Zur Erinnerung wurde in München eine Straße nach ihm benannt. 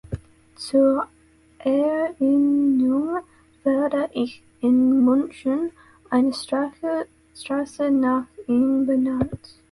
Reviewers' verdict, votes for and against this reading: rejected, 0, 2